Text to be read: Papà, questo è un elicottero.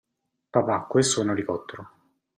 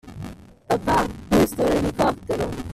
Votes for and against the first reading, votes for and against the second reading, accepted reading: 2, 0, 0, 2, first